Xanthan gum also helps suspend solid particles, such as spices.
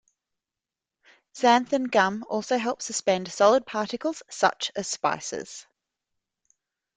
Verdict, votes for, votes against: accepted, 2, 0